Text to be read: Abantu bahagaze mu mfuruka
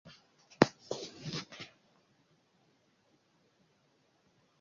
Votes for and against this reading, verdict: 1, 2, rejected